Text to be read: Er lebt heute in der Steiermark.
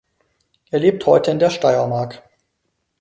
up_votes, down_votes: 4, 0